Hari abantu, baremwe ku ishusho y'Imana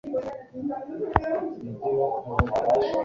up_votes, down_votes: 1, 2